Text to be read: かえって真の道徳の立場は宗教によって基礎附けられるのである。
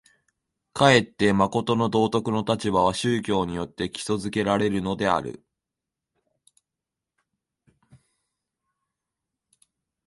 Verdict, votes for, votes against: rejected, 1, 2